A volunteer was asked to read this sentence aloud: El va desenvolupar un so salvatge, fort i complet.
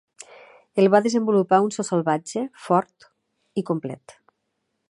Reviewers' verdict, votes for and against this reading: accepted, 2, 0